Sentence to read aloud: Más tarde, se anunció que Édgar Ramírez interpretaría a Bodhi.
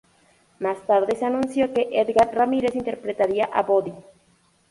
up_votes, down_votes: 2, 0